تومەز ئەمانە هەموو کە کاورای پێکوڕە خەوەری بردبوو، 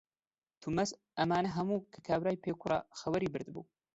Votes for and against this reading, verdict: 0, 2, rejected